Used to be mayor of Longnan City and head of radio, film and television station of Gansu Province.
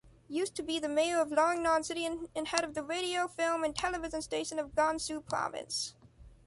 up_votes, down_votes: 1, 2